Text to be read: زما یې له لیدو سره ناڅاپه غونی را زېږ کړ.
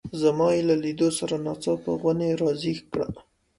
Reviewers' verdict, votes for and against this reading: accepted, 2, 0